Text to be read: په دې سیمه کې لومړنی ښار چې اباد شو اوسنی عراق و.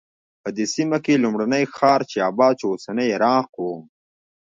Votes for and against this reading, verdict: 0, 2, rejected